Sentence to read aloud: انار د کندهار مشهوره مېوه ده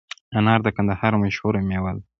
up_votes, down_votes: 2, 1